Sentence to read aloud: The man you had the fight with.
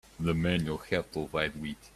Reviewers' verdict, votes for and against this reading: rejected, 2, 3